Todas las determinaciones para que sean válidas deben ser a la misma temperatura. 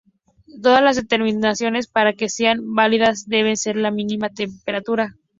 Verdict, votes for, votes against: rejected, 0, 4